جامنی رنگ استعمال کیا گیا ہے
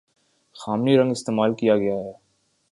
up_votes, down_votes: 1, 2